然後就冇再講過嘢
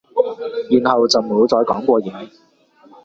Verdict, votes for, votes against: rejected, 0, 2